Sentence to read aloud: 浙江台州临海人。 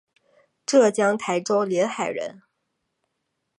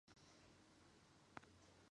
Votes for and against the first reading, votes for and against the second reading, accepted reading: 2, 0, 0, 3, first